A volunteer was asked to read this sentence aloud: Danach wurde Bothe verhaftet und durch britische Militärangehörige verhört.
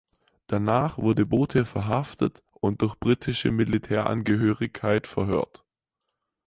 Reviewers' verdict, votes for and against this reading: rejected, 0, 6